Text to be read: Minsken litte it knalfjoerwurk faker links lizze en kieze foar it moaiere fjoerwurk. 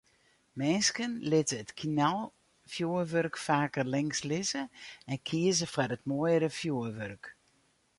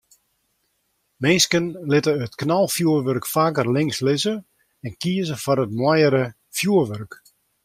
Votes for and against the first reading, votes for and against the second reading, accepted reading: 0, 2, 2, 0, second